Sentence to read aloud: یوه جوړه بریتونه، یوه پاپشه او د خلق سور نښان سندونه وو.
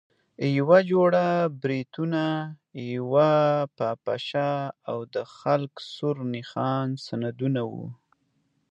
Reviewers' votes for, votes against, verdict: 2, 0, accepted